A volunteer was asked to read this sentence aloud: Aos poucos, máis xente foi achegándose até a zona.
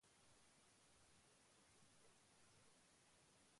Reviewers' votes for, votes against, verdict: 0, 2, rejected